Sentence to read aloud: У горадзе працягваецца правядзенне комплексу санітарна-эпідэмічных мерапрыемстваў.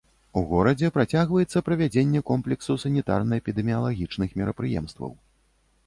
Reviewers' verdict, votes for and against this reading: rejected, 1, 2